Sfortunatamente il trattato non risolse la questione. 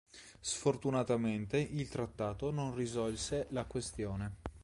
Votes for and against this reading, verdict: 2, 0, accepted